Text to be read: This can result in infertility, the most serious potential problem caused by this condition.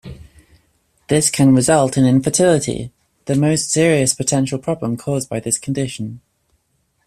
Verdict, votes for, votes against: accepted, 2, 0